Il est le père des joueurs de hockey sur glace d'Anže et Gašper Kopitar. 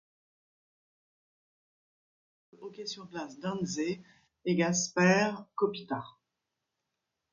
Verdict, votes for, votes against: rejected, 1, 2